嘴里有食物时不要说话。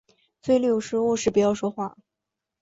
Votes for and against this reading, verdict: 2, 0, accepted